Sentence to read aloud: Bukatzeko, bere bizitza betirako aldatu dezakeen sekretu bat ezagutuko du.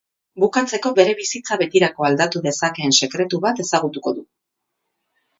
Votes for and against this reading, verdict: 2, 2, rejected